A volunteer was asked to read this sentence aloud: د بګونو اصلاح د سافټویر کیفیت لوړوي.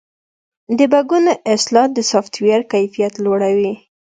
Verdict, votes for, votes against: accepted, 2, 0